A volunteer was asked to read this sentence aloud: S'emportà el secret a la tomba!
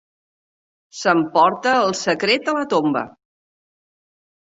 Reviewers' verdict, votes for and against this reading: rejected, 0, 2